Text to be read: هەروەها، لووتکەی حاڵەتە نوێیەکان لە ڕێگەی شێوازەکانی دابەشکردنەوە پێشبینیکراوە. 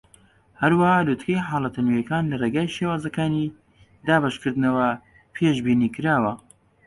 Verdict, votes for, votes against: accepted, 3, 0